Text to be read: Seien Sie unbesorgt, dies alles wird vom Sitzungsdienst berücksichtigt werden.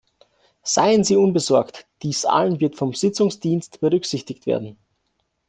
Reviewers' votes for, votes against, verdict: 0, 2, rejected